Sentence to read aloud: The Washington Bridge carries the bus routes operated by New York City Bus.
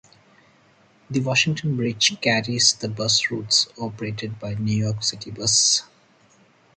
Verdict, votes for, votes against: accepted, 4, 0